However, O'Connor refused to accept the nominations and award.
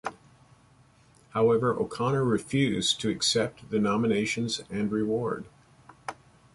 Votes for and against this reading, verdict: 0, 2, rejected